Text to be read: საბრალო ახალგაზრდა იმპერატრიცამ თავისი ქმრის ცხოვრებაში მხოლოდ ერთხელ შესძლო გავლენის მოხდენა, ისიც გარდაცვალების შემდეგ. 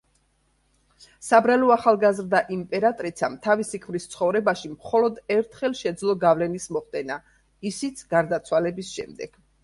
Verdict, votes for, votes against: rejected, 1, 2